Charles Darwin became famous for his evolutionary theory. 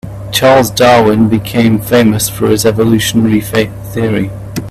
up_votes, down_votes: 1, 2